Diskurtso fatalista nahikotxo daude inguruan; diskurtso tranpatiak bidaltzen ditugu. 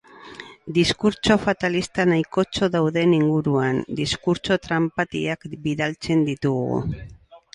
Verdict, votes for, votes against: accepted, 8, 2